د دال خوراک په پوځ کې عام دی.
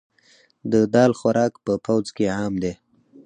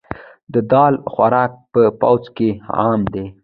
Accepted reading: first